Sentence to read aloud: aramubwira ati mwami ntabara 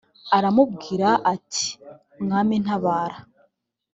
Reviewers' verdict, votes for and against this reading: accepted, 2, 0